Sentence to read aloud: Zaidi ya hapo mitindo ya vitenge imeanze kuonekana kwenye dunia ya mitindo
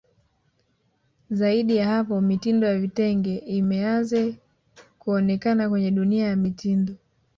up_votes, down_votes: 1, 2